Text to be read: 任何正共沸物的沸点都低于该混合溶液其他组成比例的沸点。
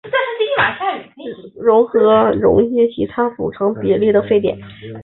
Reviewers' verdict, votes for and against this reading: rejected, 0, 3